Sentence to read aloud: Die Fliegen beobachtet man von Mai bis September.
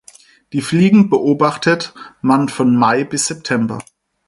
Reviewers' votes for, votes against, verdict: 4, 2, accepted